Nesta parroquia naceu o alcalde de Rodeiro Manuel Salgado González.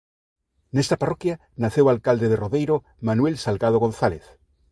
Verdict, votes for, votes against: accepted, 2, 0